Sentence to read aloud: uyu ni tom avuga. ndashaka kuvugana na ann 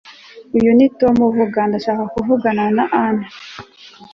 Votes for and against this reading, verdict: 2, 1, accepted